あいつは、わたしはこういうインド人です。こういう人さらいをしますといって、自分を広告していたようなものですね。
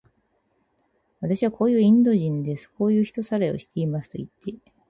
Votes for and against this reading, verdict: 0, 4, rejected